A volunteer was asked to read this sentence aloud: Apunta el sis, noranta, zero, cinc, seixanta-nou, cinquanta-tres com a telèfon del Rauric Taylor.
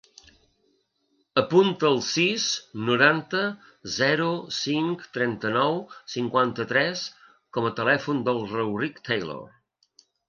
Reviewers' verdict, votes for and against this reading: rejected, 1, 2